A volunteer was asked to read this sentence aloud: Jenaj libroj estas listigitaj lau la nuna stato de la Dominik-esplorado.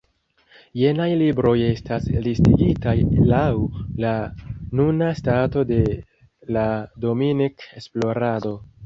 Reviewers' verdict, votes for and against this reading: accepted, 2, 0